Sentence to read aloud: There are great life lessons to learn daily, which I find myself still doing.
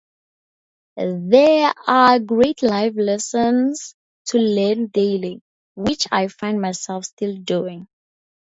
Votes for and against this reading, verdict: 2, 0, accepted